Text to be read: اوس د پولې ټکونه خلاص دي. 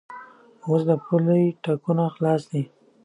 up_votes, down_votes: 2, 0